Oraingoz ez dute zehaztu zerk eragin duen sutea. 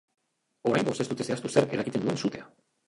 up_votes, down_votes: 0, 2